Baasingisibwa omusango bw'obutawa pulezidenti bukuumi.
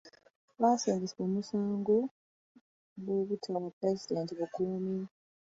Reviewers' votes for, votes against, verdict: 0, 2, rejected